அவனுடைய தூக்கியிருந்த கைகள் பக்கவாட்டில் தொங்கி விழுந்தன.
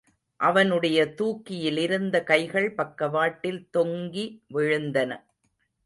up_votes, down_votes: 0, 2